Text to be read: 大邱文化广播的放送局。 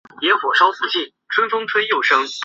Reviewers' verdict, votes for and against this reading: rejected, 1, 2